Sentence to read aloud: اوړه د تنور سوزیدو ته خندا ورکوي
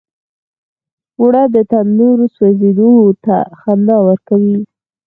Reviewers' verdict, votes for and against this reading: rejected, 2, 4